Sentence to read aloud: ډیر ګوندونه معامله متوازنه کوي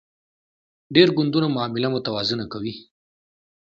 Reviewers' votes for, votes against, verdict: 2, 0, accepted